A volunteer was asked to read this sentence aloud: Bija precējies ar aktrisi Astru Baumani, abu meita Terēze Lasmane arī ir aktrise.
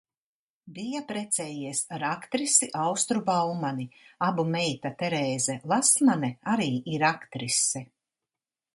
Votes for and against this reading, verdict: 0, 2, rejected